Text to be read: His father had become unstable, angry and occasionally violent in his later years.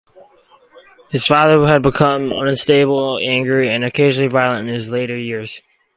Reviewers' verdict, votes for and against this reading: accepted, 4, 0